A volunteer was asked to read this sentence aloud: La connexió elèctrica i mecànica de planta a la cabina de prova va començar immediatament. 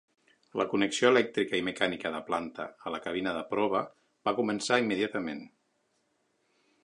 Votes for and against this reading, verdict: 6, 0, accepted